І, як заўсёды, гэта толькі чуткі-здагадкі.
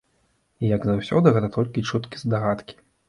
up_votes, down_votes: 2, 0